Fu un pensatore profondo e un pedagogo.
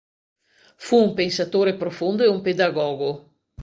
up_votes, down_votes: 2, 0